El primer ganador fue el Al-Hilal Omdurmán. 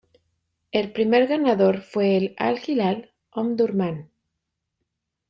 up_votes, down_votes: 2, 0